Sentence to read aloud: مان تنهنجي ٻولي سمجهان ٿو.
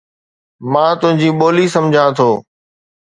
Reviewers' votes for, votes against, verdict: 2, 0, accepted